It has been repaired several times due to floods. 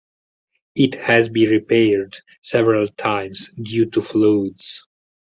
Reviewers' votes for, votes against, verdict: 2, 4, rejected